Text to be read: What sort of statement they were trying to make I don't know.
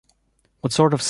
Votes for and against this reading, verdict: 0, 2, rejected